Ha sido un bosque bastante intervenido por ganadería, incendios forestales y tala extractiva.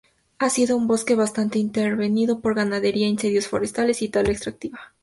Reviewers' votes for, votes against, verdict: 2, 0, accepted